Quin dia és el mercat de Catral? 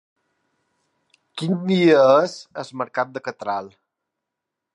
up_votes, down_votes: 1, 2